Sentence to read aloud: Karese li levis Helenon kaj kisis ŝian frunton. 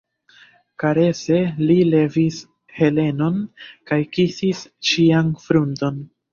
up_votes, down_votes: 0, 2